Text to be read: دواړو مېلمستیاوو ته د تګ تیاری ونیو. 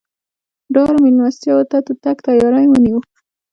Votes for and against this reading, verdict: 0, 2, rejected